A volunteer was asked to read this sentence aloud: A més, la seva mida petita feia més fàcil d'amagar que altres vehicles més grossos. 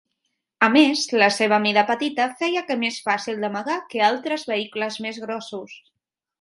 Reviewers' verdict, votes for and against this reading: rejected, 1, 3